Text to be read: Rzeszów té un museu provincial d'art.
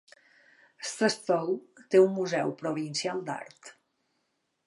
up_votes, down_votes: 2, 0